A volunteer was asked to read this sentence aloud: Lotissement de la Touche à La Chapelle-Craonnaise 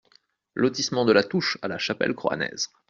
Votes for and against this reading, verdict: 0, 2, rejected